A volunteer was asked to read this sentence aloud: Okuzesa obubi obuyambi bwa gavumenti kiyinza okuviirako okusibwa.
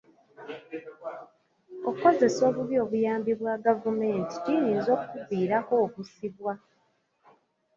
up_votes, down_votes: 2, 1